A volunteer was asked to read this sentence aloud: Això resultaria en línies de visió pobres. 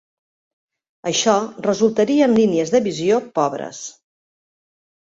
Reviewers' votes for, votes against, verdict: 2, 0, accepted